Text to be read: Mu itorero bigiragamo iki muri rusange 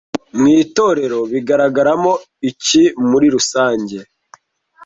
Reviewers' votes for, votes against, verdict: 1, 2, rejected